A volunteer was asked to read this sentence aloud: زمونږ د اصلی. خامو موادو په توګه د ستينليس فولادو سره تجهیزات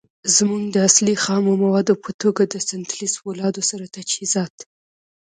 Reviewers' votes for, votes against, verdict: 1, 2, rejected